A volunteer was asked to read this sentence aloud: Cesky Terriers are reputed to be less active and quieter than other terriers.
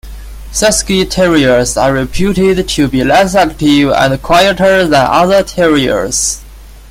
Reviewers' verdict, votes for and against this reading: accepted, 2, 0